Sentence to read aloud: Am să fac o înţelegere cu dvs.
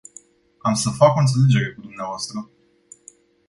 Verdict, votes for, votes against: accepted, 2, 0